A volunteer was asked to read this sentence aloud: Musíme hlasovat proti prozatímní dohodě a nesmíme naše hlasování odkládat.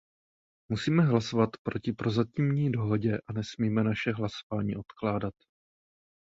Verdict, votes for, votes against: accepted, 2, 1